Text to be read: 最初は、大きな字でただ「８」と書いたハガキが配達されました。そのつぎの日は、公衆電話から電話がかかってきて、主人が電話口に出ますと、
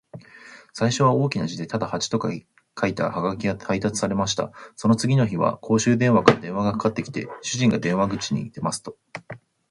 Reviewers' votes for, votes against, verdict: 0, 2, rejected